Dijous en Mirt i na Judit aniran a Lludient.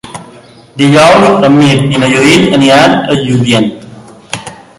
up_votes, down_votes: 2, 1